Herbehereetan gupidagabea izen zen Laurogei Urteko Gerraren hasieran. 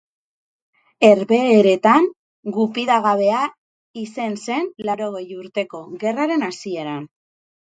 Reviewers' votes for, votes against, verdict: 22, 8, accepted